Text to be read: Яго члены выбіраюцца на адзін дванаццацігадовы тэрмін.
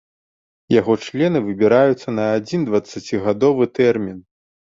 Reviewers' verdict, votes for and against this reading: rejected, 0, 2